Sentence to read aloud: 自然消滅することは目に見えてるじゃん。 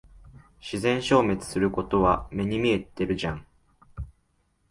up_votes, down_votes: 3, 0